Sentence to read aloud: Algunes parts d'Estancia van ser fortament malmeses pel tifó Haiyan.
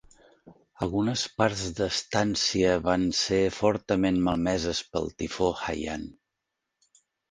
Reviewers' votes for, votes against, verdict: 2, 0, accepted